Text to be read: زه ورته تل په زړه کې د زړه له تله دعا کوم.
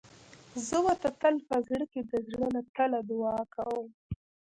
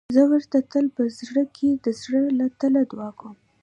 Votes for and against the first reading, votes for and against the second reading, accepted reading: 0, 2, 2, 0, second